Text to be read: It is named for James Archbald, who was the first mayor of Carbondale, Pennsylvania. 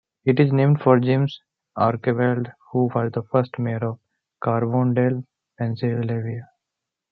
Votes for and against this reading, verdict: 0, 2, rejected